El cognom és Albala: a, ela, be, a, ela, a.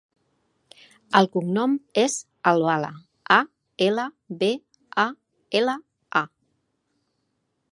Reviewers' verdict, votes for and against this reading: accepted, 2, 0